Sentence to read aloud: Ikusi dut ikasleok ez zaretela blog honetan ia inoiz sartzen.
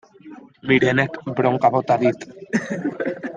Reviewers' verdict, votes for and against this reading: rejected, 0, 2